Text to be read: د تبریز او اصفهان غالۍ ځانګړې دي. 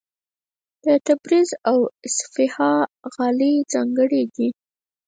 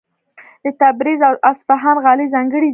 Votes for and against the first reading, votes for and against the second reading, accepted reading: 0, 4, 3, 0, second